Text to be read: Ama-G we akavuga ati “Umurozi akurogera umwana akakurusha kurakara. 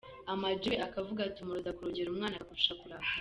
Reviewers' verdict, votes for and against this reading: rejected, 0, 2